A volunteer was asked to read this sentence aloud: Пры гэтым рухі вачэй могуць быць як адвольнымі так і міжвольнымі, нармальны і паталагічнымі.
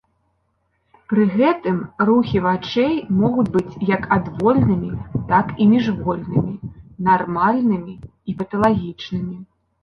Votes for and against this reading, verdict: 0, 2, rejected